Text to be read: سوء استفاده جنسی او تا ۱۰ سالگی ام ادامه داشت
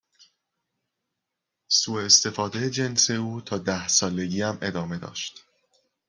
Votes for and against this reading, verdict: 0, 2, rejected